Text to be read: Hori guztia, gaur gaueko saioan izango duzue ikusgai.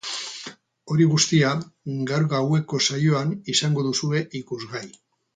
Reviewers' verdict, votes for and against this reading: rejected, 2, 2